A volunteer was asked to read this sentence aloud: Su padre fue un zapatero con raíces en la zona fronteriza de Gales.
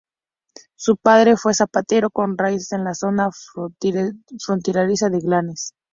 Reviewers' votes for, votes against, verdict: 0, 2, rejected